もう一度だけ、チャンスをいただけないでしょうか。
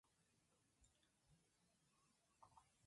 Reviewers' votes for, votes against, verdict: 0, 2, rejected